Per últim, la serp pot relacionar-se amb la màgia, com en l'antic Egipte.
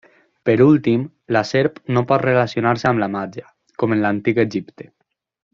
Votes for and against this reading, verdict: 0, 2, rejected